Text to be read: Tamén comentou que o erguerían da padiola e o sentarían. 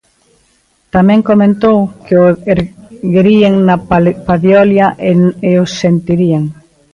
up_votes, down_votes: 0, 2